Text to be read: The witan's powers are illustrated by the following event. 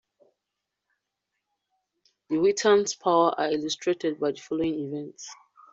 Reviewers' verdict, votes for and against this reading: rejected, 1, 2